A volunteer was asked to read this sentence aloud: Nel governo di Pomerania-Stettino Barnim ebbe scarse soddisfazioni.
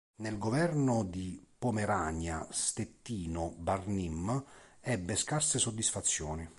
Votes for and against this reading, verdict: 2, 0, accepted